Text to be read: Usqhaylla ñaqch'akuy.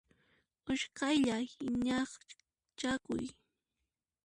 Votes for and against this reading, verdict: 0, 2, rejected